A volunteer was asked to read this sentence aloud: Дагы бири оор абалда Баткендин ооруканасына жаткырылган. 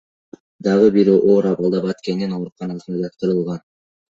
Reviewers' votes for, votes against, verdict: 2, 1, accepted